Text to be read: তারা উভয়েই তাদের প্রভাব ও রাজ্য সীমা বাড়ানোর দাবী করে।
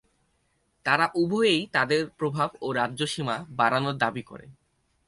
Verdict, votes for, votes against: accepted, 4, 0